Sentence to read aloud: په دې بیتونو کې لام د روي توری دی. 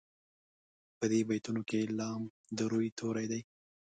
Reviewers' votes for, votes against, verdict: 2, 0, accepted